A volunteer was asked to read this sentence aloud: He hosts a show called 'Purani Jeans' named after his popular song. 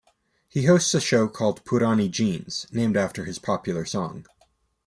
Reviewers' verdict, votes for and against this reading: accepted, 2, 0